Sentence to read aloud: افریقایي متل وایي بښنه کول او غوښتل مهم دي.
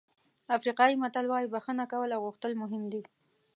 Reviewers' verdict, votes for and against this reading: accepted, 2, 0